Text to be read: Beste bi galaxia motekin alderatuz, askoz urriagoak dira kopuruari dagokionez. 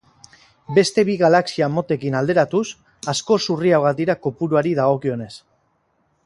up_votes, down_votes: 4, 0